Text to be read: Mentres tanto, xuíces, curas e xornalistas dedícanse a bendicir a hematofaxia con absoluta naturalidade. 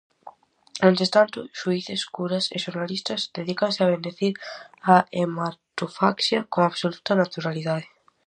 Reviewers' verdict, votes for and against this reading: accepted, 4, 0